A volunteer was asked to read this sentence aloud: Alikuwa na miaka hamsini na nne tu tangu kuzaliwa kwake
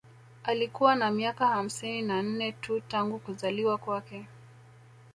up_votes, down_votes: 1, 2